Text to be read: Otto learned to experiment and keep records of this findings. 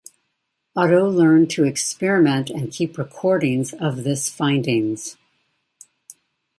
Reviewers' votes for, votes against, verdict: 1, 2, rejected